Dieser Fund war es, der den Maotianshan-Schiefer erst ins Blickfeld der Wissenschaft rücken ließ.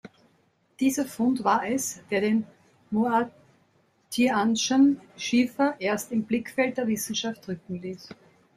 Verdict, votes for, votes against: rejected, 0, 2